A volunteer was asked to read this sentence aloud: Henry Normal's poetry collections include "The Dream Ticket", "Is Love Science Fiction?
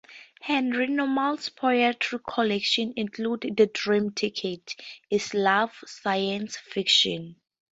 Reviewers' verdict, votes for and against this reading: rejected, 0, 2